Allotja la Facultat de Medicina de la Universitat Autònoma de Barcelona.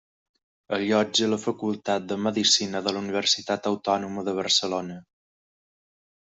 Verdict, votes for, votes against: accepted, 3, 0